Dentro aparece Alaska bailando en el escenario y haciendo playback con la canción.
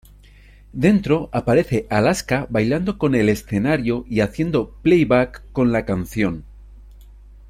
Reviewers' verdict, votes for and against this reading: rejected, 0, 2